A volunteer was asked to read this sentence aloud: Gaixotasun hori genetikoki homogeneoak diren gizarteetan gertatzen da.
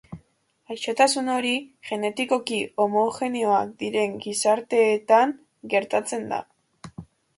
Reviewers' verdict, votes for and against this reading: accepted, 2, 0